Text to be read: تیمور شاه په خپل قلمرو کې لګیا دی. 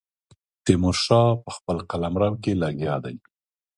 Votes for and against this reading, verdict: 2, 0, accepted